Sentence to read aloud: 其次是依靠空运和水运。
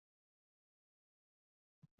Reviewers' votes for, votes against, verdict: 1, 2, rejected